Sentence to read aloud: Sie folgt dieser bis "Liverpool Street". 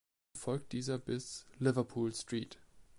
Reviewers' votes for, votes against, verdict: 1, 2, rejected